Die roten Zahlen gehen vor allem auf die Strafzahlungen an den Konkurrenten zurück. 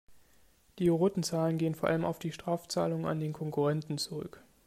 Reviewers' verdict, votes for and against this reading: accepted, 2, 1